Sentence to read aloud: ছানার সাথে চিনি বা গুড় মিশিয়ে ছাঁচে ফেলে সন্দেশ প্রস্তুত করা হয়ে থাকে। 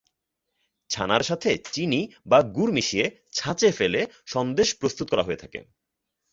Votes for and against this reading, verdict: 2, 0, accepted